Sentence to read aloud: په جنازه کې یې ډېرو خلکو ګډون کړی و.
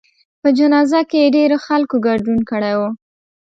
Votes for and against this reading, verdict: 2, 0, accepted